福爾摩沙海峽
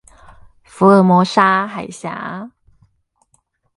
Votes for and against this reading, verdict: 4, 0, accepted